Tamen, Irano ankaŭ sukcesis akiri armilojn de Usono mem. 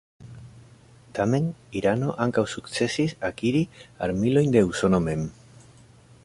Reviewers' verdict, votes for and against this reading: accepted, 2, 0